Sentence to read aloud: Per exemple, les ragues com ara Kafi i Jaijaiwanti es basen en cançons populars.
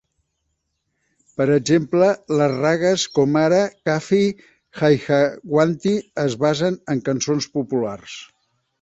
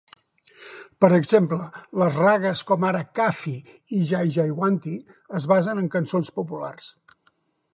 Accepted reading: second